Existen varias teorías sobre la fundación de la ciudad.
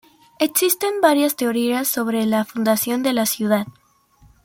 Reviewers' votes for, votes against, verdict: 2, 0, accepted